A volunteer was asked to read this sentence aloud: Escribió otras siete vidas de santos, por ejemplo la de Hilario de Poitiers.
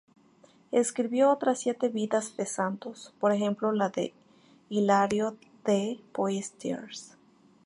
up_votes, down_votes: 0, 2